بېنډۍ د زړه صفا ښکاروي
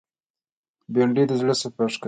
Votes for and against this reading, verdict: 1, 2, rejected